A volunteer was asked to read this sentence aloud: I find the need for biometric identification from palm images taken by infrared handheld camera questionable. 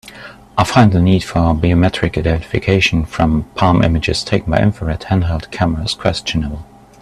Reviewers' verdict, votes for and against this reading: rejected, 0, 2